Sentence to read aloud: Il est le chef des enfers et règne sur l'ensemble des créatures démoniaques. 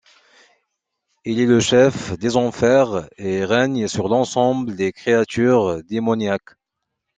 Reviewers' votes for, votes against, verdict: 2, 0, accepted